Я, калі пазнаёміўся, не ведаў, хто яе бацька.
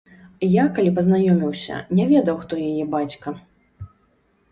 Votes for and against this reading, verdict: 1, 2, rejected